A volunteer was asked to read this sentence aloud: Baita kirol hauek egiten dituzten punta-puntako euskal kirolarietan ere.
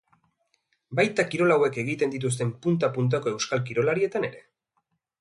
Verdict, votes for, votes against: accepted, 2, 0